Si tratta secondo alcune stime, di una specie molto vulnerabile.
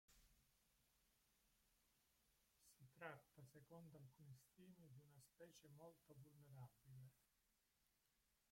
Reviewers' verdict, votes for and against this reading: rejected, 0, 2